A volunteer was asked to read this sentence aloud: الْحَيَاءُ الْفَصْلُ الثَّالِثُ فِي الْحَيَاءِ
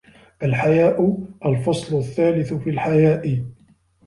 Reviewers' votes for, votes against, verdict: 1, 2, rejected